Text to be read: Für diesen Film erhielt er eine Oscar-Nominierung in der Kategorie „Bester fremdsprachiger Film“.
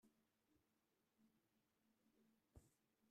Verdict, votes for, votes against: rejected, 0, 2